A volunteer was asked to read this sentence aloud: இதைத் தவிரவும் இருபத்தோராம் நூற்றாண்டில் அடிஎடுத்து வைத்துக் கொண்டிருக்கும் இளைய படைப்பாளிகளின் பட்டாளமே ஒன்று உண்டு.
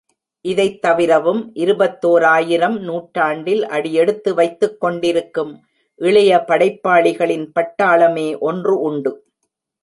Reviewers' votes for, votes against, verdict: 1, 3, rejected